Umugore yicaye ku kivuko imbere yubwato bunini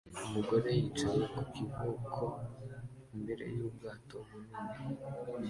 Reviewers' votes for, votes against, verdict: 0, 2, rejected